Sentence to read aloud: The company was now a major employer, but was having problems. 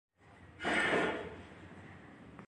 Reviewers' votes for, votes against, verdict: 0, 2, rejected